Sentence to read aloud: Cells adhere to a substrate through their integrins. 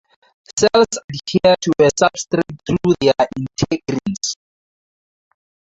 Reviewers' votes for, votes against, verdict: 0, 4, rejected